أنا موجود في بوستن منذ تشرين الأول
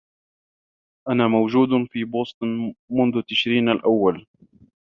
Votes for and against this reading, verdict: 1, 2, rejected